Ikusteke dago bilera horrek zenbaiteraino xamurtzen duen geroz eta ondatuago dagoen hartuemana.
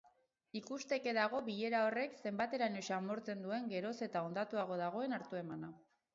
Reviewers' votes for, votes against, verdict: 4, 0, accepted